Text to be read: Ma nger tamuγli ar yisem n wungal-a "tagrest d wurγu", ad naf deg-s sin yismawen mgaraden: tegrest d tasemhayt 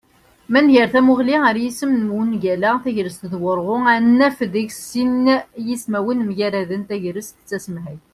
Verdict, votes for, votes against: accepted, 2, 0